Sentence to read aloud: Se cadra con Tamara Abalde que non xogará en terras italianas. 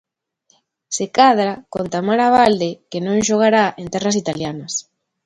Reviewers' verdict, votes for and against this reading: accepted, 2, 0